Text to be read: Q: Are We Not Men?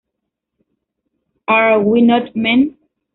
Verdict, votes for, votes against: rejected, 0, 2